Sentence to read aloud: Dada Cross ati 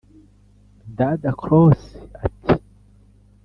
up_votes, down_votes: 0, 2